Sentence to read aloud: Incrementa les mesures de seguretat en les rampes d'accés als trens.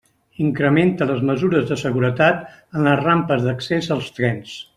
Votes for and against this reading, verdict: 3, 1, accepted